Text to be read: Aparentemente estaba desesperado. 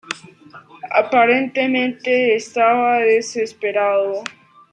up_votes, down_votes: 2, 1